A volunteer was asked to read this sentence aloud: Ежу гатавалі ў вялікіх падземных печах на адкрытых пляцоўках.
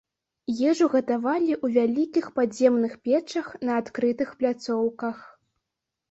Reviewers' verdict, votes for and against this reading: rejected, 0, 2